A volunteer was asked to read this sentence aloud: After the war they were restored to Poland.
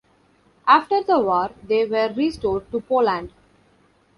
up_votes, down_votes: 0, 2